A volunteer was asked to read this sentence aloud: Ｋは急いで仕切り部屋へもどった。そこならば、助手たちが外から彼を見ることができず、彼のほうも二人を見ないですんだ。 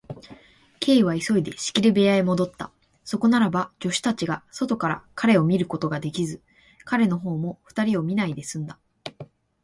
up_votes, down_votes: 3, 0